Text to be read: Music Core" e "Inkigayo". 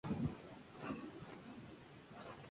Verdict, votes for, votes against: rejected, 0, 2